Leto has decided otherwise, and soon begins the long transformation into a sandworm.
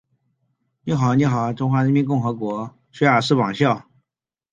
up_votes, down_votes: 0, 2